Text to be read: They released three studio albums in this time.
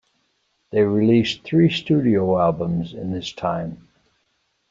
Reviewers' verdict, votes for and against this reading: accepted, 2, 0